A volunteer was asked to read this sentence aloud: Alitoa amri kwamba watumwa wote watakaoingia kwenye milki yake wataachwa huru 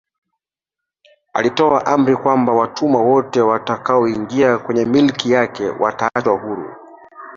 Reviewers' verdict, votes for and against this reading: rejected, 1, 2